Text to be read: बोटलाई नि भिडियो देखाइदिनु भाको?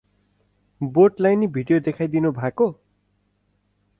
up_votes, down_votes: 4, 0